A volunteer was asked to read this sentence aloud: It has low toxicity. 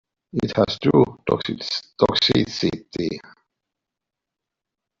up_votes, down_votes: 0, 2